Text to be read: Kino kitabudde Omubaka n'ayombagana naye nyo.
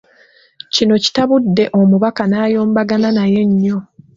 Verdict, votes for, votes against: accepted, 2, 0